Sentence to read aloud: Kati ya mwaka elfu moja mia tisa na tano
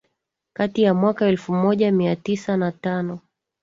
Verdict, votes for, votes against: rejected, 1, 3